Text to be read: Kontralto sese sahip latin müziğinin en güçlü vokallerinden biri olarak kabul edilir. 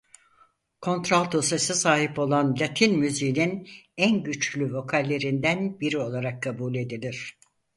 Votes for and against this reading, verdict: 2, 4, rejected